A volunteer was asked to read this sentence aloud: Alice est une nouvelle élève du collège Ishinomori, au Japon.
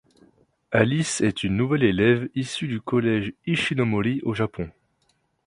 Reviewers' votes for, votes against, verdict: 0, 2, rejected